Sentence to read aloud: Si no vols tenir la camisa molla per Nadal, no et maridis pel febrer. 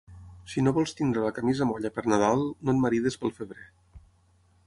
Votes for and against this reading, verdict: 6, 0, accepted